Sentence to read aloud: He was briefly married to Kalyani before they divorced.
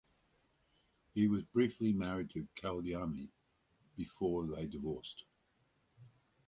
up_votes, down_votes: 0, 4